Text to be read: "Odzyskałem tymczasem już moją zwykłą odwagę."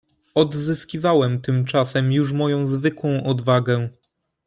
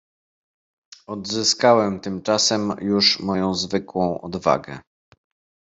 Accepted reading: second